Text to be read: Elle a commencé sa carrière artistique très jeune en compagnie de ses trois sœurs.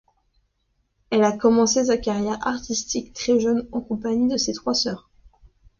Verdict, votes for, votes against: accepted, 2, 0